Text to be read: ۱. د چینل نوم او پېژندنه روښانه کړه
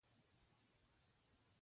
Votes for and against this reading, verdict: 0, 2, rejected